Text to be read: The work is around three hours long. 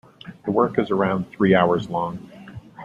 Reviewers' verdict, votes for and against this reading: accepted, 2, 0